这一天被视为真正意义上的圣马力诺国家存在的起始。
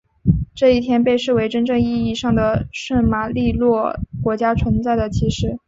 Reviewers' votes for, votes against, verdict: 2, 0, accepted